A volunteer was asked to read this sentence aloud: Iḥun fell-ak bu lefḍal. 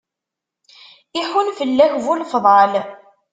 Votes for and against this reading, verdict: 2, 0, accepted